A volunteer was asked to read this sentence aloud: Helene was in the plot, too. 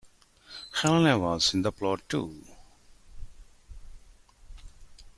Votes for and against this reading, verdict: 1, 2, rejected